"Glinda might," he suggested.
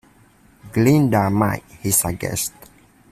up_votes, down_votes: 0, 2